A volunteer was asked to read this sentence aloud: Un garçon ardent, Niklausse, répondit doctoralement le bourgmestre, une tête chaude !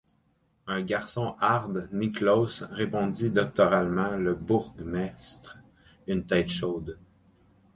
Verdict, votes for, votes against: rejected, 0, 4